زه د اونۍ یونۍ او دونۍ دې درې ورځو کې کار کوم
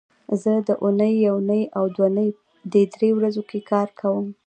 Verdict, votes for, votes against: accepted, 2, 0